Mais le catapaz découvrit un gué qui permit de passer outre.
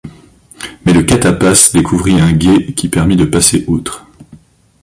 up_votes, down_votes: 2, 0